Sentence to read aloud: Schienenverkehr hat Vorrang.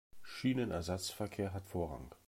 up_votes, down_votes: 0, 2